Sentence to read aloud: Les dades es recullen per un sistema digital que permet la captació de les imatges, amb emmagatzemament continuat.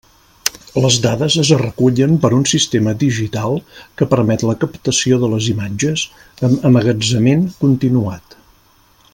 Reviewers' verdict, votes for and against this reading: accepted, 2, 0